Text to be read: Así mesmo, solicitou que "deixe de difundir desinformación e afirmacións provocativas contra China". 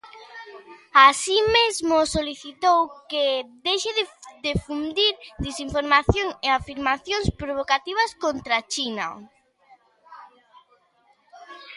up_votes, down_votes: 0, 2